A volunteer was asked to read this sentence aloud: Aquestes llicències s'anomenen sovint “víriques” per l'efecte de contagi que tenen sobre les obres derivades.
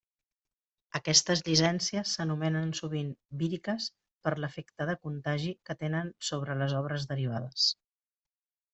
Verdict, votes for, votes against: rejected, 1, 2